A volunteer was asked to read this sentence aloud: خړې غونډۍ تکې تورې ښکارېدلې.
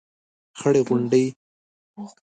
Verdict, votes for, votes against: rejected, 1, 2